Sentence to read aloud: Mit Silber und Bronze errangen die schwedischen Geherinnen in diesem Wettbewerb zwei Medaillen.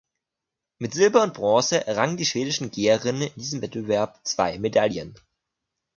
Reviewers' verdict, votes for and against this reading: accepted, 2, 0